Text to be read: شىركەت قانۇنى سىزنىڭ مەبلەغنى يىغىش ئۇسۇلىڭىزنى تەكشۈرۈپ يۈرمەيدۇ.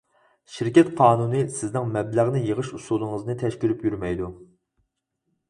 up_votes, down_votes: 2, 4